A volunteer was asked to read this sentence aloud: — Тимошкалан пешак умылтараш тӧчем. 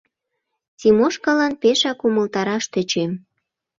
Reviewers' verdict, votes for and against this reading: accepted, 2, 0